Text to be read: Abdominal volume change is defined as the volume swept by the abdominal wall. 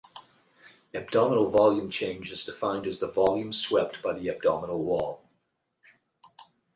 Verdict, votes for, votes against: rejected, 0, 4